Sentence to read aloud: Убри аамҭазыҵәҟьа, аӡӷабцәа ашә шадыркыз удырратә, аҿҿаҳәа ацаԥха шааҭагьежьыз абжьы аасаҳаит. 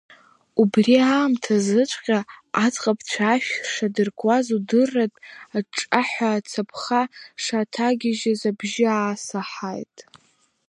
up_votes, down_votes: 1, 2